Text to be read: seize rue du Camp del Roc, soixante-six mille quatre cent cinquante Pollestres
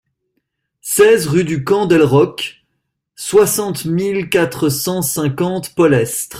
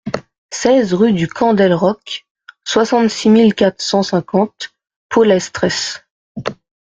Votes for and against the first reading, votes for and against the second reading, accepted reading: 0, 2, 2, 0, second